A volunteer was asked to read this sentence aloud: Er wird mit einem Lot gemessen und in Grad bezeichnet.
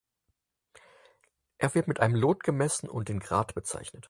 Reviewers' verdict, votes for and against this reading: accepted, 6, 0